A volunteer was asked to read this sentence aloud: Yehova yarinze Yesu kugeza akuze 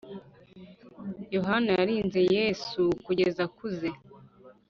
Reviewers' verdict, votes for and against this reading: rejected, 1, 2